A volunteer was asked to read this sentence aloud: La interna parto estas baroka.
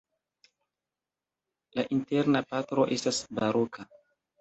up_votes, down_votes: 2, 0